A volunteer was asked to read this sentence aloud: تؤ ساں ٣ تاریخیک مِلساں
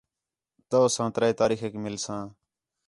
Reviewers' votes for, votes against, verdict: 0, 2, rejected